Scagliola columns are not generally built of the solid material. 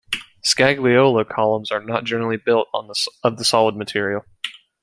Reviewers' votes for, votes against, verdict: 0, 2, rejected